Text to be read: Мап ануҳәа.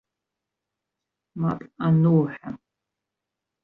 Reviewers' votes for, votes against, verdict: 1, 2, rejected